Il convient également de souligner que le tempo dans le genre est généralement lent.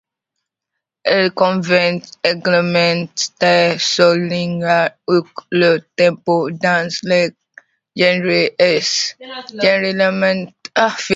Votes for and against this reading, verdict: 0, 2, rejected